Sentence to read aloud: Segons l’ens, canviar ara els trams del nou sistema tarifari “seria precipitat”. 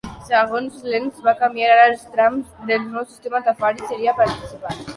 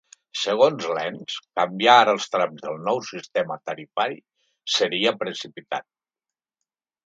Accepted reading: second